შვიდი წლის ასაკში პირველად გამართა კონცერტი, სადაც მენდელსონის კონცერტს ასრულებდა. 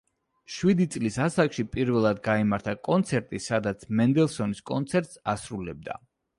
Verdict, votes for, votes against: rejected, 0, 2